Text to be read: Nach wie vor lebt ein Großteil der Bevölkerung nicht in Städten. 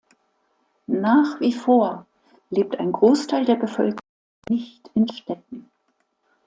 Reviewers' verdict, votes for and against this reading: rejected, 0, 2